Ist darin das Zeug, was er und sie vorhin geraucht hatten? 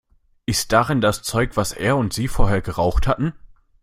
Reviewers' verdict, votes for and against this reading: rejected, 0, 2